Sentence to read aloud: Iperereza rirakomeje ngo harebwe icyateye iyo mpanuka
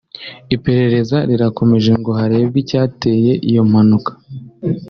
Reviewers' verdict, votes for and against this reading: accepted, 2, 0